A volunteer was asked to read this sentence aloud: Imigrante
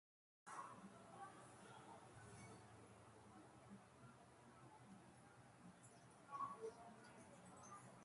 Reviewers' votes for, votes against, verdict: 0, 2, rejected